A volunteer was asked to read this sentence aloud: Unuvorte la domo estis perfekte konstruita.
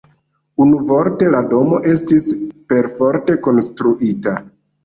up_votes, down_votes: 1, 2